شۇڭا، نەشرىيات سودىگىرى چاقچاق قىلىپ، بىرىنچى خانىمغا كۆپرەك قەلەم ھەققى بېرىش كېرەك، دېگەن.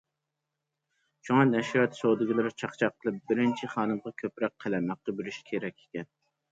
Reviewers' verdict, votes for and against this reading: rejected, 1, 2